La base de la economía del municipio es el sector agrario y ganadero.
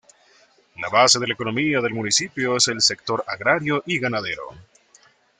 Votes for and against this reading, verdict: 2, 0, accepted